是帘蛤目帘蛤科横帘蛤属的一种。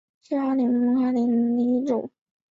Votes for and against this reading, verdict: 1, 4, rejected